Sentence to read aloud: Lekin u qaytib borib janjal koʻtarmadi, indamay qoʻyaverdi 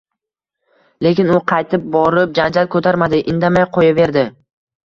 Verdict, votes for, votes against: accepted, 2, 0